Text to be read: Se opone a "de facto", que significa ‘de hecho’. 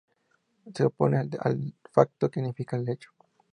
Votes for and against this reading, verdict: 4, 0, accepted